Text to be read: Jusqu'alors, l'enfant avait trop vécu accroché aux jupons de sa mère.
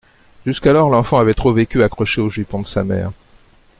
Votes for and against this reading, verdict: 2, 0, accepted